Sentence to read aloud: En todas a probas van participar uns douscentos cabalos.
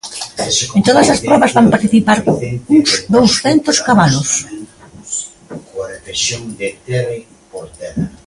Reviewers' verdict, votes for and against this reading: rejected, 0, 2